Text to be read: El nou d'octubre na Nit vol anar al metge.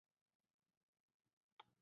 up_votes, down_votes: 0, 2